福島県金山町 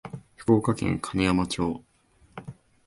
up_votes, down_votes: 2, 1